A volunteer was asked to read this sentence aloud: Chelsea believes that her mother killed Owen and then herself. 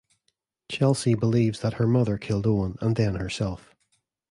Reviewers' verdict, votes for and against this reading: accepted, 2, 0